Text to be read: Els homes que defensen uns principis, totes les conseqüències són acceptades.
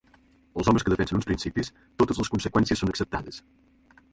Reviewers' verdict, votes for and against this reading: accepted, 2, 0